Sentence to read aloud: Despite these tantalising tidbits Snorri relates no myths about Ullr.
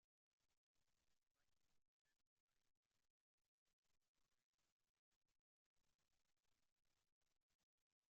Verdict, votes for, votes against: rejected, 0, 2